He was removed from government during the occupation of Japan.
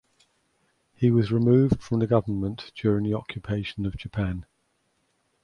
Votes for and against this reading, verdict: 0, 2, rejected